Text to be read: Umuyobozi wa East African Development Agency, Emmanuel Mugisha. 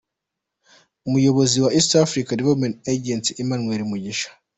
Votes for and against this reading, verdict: 2, 0, accepted